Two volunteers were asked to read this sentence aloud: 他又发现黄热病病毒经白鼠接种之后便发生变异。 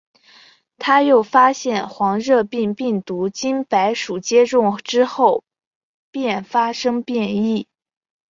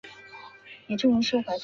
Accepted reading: first